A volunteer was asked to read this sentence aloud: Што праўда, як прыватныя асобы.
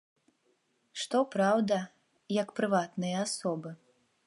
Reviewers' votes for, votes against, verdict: 2, 0, accepted